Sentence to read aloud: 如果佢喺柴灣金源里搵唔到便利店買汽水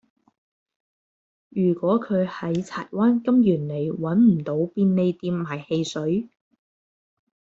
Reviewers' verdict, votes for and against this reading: accepted, 2, 0